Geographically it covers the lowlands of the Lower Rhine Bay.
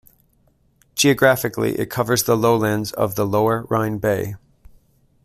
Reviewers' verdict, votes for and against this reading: accepted, 2, 0